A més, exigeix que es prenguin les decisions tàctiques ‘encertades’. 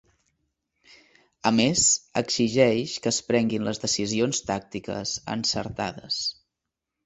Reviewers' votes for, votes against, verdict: 2, 0, accepted